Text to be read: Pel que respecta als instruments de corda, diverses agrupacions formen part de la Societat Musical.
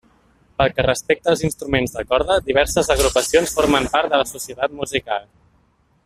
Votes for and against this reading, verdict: 0, 2, rejected